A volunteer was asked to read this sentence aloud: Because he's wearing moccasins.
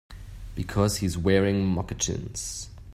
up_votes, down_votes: 0, 2